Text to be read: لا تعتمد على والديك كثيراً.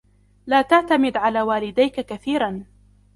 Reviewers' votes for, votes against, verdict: 2, 1, accepted